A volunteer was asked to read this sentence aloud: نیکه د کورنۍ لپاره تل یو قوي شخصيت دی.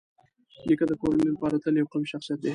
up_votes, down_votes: 0, 2